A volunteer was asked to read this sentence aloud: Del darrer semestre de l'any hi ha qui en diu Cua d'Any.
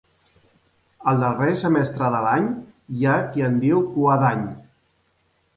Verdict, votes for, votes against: rejected, 0, 2